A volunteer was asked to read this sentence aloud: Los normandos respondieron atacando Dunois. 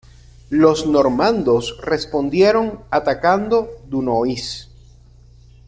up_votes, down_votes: 2, 0